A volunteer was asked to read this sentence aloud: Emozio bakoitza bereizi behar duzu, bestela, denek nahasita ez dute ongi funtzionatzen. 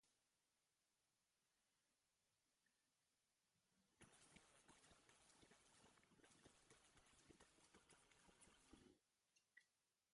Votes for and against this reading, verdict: 0, 2, rejected